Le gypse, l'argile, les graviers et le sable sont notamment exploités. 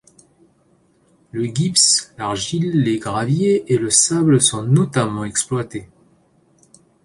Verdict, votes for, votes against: rejected, 1, 2